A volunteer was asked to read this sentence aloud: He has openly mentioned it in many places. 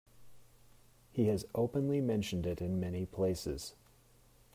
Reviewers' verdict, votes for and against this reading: accepted, 2, 0